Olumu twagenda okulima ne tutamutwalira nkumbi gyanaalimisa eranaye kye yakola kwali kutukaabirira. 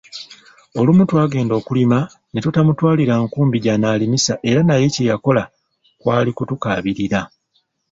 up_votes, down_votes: 2, 0